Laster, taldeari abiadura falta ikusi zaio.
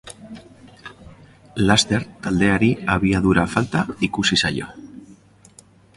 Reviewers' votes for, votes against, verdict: 2, 0, accepted